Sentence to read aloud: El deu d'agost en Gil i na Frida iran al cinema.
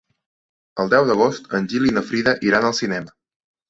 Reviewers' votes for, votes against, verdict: 4, 0, accepted